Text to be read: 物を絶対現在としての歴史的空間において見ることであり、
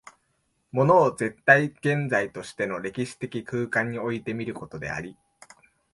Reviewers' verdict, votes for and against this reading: accepted, 2, 0